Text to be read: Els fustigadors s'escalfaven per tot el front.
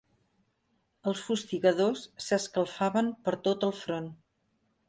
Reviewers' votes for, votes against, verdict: 4, 0, accepted